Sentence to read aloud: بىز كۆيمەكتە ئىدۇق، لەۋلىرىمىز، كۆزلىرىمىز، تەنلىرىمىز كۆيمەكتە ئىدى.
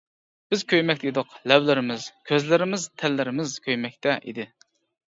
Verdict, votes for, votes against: accepted, 2, 0